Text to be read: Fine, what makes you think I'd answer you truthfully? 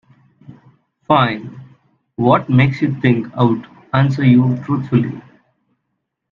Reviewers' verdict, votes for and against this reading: rejected, 0, 2